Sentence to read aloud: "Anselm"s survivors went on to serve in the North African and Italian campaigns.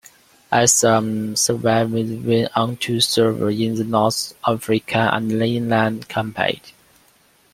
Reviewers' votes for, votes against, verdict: 2, 1, accepted